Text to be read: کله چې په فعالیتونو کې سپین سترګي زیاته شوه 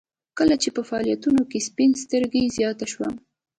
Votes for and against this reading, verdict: 1, 2, rejected